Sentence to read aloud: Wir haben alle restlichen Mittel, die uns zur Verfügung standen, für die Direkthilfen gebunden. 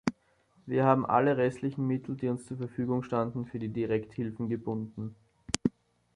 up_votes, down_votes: 2, 0